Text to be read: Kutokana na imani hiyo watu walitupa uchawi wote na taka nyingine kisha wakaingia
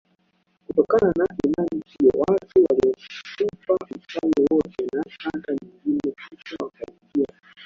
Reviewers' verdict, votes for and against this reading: rejected, 0, 2